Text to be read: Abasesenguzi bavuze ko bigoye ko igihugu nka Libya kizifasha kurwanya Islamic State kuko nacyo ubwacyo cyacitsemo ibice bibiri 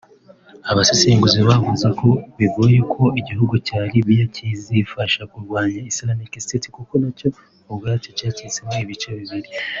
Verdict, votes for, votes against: rejected, 1, 4